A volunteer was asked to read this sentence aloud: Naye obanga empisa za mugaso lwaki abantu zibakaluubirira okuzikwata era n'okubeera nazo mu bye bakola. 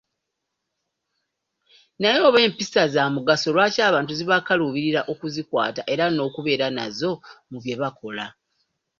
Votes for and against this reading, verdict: 0, 2, rejected